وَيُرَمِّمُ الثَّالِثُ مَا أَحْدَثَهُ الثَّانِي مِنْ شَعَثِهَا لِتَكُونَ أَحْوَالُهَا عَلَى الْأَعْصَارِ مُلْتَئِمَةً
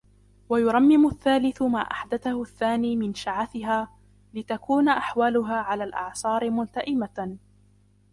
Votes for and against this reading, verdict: 2, 0, accepted